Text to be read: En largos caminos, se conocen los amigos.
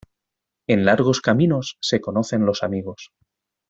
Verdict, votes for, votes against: accepted, 2, 0